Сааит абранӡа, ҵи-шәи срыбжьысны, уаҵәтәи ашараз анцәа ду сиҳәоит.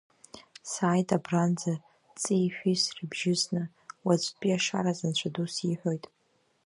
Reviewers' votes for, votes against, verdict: 2, 0, accepted